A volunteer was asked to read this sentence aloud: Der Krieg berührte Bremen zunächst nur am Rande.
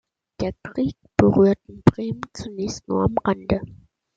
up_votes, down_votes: 2, 1